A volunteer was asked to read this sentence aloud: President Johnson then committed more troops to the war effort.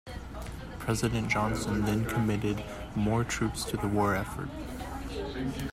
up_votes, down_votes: 2, 0